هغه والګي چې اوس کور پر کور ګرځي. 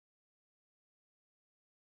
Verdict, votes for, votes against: rejected, 2, 4